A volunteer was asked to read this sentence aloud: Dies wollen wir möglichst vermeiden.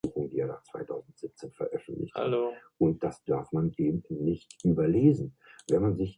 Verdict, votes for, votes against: rejected, 0, 2